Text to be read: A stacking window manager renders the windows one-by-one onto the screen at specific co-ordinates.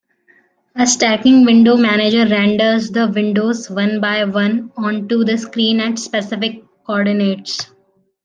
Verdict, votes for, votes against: accepted, 2, 1